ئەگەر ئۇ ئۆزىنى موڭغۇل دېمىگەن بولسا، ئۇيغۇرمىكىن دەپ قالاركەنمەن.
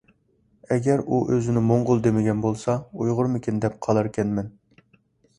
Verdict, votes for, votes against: accepted, 2, 0